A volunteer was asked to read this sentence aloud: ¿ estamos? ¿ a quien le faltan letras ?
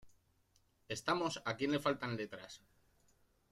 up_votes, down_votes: 1, 2